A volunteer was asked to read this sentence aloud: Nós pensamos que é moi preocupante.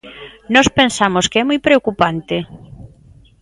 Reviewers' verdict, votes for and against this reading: accepted, 2, 0